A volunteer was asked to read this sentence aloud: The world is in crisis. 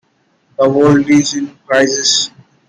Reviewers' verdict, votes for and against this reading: rejected, 0, 2